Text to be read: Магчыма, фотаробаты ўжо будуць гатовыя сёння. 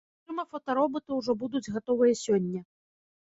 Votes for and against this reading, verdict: 0, 2, rejected